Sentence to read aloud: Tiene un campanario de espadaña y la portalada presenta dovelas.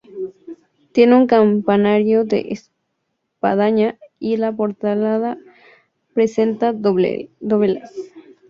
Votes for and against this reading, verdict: 0, 2, rejected